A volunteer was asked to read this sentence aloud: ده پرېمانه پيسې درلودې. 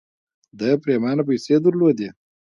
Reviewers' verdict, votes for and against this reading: accepted, 2, 0